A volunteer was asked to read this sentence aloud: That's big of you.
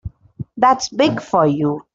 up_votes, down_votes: 0, 2